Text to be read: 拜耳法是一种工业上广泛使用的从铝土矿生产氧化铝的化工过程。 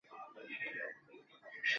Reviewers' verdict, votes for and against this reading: rejected, 0, 5